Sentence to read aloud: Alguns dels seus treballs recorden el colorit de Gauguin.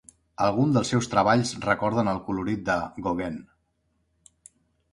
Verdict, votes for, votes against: rejected, 0, 2